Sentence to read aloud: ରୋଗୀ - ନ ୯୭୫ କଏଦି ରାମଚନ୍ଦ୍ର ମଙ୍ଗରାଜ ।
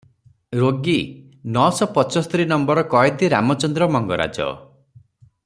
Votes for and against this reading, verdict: 0, 2, rejected